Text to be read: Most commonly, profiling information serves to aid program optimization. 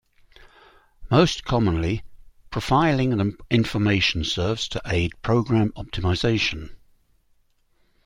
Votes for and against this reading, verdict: 1, 2, rejected